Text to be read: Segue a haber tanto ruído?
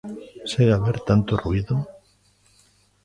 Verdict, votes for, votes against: accepted, 2, 0